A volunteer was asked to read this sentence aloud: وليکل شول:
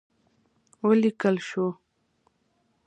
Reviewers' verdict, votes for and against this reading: accepted, 2, 0